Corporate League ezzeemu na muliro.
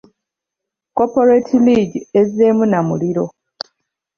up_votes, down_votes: 2, 0